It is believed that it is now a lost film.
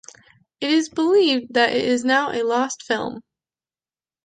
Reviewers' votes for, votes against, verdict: 2, 0, accepted